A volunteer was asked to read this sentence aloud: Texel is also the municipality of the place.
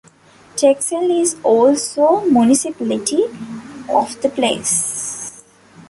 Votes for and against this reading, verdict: 0, 2, rejected